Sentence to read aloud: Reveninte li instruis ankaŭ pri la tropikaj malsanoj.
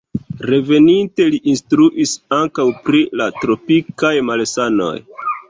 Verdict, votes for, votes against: rejected, 0, 2